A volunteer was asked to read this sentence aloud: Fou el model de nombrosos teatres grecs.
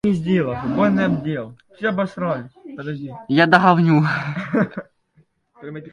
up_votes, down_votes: 1, 2